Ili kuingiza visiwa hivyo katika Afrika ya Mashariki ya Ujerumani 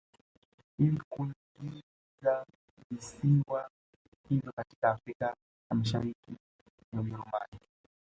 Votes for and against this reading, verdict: 2, 0, accepted